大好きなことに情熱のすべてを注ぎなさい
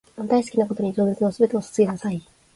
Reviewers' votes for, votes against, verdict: 2, 1, accepted